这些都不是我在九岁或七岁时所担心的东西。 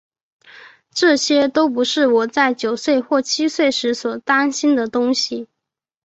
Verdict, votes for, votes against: accepted, 3, 0